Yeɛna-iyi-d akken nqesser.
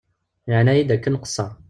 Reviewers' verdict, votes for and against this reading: accepted, 2, 0